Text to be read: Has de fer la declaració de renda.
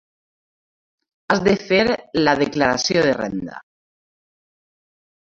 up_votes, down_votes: 2, 0